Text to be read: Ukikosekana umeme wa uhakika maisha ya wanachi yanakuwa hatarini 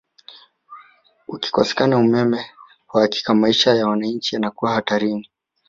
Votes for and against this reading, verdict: 1, 2, rejected